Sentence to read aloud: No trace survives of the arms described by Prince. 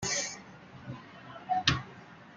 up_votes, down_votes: 0, 2